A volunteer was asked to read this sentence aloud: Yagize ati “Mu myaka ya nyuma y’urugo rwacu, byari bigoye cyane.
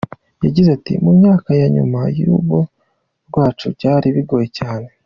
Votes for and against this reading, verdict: 2, 0, accepted